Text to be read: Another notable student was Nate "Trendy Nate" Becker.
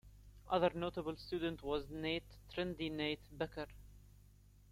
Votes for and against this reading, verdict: 2, 1, accepted